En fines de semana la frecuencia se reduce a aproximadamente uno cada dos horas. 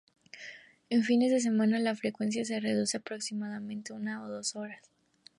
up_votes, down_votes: 0, 2